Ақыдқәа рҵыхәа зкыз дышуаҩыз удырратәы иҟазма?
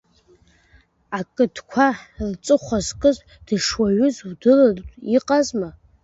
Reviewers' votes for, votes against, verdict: 2, 1, accepted